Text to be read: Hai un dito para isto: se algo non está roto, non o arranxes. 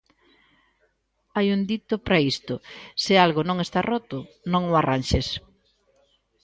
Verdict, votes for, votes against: accepted, 2, 0